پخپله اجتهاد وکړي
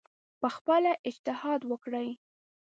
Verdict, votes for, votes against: rejected, 0, 2